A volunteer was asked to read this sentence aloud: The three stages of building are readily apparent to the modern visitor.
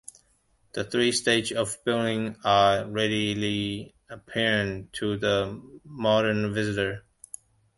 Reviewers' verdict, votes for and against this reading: rejected, 0, 2